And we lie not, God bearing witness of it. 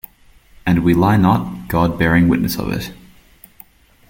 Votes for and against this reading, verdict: 2, 0, accepted